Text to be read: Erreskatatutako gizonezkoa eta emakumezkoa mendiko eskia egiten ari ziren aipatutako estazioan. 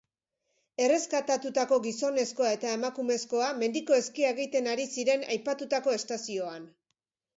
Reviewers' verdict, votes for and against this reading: accepted, 2, 0